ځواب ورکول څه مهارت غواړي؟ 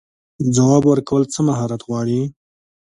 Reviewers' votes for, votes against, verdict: 2, 1, accepted